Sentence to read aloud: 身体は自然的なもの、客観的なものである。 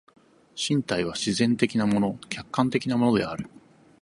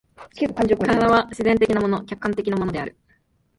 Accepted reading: first